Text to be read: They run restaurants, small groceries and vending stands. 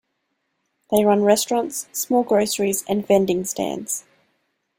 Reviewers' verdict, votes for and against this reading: accepted, 2, 0